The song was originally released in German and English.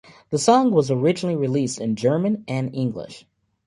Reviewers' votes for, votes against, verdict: 2, 1, accepted